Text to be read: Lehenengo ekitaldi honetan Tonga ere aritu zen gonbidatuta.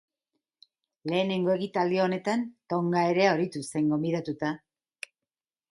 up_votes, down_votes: 0, 2